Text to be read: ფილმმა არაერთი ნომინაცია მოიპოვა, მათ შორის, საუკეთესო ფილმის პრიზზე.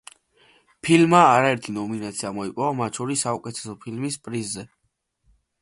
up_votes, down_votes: 2, 0